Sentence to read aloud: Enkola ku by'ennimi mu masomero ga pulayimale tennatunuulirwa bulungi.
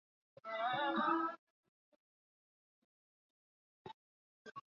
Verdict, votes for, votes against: rejected, 0, 2